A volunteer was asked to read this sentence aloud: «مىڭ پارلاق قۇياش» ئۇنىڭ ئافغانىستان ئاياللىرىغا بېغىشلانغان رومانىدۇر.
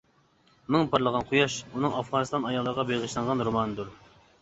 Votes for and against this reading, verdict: 0, 2, rejected